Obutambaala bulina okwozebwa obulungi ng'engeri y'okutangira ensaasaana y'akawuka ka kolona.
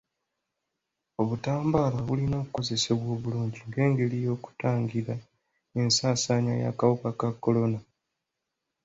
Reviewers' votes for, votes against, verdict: 1, 2, rejected